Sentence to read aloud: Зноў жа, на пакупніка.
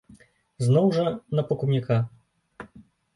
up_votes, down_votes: 1, 2